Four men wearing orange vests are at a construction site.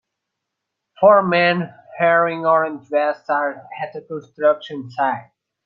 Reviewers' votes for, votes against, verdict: 2, 0, accepted